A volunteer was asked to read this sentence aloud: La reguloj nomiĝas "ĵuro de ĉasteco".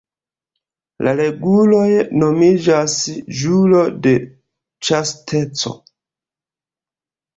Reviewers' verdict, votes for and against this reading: accepted, 2, 0